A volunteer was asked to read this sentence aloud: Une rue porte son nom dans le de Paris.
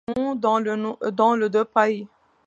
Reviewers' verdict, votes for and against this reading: rejected, 0, 2